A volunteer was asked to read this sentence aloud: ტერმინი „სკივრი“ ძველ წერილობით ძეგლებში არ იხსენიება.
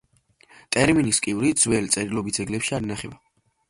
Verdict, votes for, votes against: rejected, 0, 2